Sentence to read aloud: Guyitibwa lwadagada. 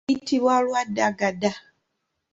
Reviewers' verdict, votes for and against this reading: rejected, 1, 2